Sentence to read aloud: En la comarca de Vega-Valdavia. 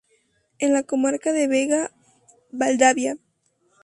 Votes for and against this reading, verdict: 2, 0, accepted